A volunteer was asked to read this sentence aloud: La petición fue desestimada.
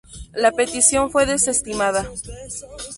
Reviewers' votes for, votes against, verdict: 2, 0, accepted